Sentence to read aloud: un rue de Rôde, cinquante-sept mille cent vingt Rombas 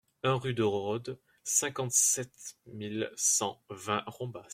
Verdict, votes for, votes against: rejected, 1, 2